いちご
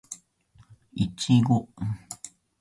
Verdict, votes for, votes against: accepted, 2, 0